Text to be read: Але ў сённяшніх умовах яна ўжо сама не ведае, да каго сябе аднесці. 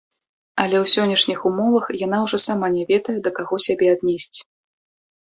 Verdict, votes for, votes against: rejected, 0, 2